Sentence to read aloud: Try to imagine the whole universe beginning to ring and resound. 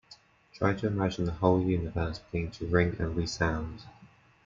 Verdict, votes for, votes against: accepted, 2, 0